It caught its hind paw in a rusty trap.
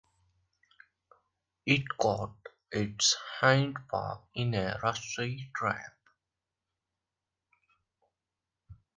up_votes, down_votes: 2, 1